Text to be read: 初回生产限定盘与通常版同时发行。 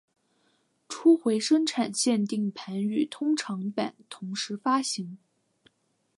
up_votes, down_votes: 4, 0